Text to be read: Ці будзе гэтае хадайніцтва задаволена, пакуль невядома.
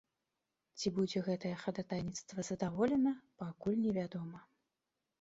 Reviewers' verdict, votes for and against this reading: rejected, 0, 2